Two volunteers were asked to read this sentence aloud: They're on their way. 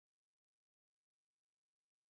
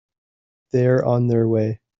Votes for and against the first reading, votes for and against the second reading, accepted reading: 0, 2, 2, 0, second